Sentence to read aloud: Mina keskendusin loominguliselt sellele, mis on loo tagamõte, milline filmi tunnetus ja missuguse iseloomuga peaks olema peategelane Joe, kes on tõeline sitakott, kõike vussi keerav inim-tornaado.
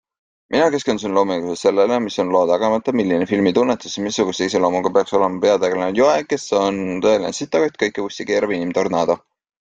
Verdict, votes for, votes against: accepted, 2, 0